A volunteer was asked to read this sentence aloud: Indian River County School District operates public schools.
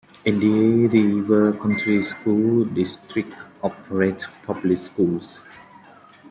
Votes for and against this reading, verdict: 1, 2, rejected